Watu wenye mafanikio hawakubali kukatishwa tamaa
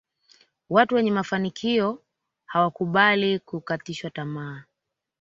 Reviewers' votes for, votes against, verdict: 2, 0, accepted